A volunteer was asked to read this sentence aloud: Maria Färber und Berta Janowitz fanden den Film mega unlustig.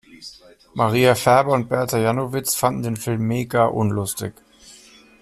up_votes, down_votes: 2, 0